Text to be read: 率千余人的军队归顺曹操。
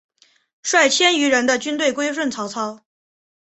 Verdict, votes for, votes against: accepted, 3, 0